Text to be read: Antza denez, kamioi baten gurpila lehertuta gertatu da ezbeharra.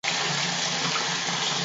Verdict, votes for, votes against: rejected, 2, 4